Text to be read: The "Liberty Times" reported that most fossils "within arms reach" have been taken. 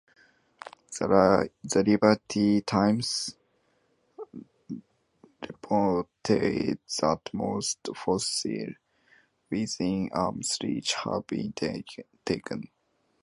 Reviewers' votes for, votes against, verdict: 0, 2, rejected